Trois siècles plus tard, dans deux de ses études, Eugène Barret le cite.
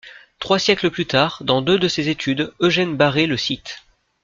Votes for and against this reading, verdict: 2, 0, accepted